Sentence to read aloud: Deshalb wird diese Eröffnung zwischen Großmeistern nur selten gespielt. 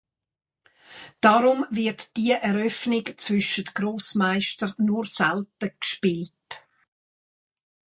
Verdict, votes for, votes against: rejected, 0, 2